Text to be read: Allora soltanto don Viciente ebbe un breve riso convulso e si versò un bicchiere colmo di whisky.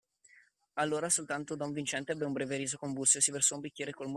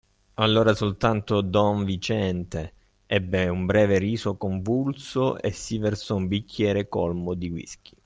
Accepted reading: second